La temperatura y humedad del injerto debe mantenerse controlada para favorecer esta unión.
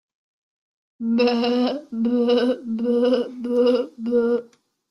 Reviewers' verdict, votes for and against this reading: rejected, 0, 2